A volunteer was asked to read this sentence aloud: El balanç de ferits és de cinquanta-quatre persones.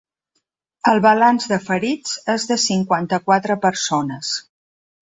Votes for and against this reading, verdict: 3, 0, accepted